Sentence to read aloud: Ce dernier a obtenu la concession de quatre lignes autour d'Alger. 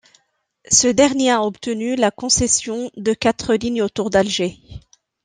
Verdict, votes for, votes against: accepted, 2, 0